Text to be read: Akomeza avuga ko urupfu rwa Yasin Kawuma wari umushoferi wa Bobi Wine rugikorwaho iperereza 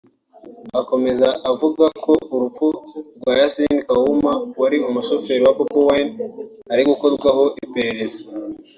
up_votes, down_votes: 1, 2